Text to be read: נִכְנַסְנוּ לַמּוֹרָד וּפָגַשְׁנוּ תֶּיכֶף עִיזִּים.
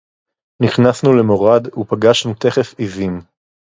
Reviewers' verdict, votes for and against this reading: rejected, 0, 4